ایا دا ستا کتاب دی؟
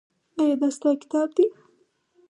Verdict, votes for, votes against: accepted, 4, 2